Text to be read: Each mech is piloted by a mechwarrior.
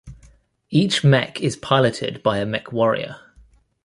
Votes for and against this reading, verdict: 2, 0, accepted